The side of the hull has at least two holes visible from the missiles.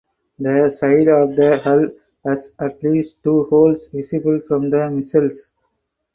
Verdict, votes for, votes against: accepted, 4, 0